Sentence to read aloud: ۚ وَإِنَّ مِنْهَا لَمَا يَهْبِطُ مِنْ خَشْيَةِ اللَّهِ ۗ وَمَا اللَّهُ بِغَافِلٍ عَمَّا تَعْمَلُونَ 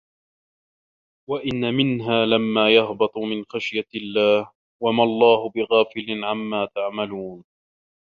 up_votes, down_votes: 1, 2